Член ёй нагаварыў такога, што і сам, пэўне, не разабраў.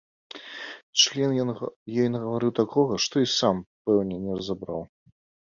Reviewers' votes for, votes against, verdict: 1, 2, rejected